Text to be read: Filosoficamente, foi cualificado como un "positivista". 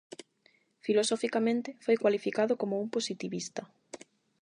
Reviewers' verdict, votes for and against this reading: accepted, 8, 0